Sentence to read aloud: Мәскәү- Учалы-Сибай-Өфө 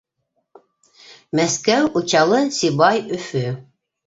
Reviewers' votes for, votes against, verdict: 2, 0, accepted